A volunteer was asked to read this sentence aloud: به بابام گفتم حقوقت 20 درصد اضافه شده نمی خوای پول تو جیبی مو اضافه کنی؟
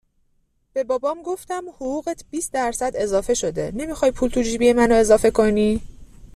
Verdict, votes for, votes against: rejected, 0, 2